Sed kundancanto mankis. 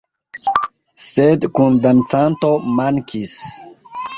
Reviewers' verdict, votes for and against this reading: accepted, 2, 0